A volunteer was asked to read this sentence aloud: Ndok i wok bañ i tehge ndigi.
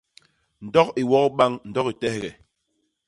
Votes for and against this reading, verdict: 0, 2, rejected